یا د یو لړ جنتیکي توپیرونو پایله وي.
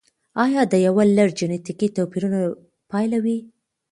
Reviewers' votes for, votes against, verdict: 2, 0, accepted